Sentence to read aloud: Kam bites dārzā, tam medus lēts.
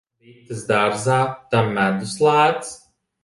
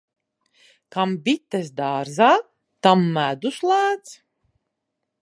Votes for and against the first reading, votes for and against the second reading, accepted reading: 1, 2, 2, 0, second